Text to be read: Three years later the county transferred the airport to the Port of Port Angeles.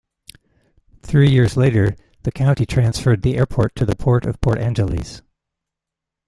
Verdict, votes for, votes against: accepted, 2, 1